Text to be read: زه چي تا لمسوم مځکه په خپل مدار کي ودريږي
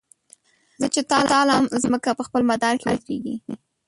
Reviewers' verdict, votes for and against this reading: rejected, 0, 2